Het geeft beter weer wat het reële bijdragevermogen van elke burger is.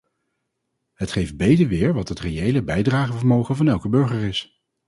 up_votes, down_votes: 0, 2